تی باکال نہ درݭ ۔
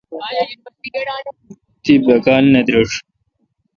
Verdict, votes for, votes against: accepted, 2, 0